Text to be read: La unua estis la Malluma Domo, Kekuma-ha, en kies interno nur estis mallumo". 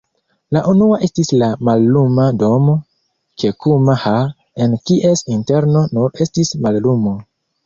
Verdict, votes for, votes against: rejected, 1, 2